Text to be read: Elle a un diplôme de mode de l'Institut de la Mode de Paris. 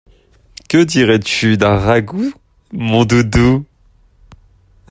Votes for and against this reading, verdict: 0, 2, rejected